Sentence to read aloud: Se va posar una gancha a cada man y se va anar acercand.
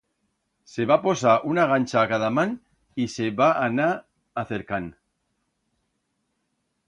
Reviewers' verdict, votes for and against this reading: accepted, 2, 0